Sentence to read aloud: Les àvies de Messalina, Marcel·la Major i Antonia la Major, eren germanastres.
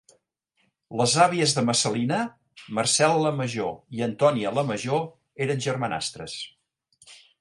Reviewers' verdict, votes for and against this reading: accepted, 2, 1